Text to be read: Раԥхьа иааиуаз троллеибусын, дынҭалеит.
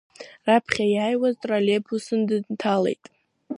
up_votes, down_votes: 1, 2